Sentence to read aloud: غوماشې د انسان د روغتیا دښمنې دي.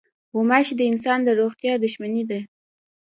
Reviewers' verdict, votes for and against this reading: rejected, 1, 2